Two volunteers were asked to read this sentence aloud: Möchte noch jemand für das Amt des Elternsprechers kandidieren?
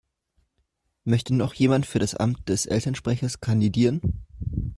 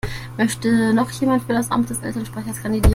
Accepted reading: first